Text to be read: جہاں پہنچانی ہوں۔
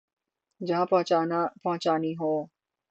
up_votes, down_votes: 0, 3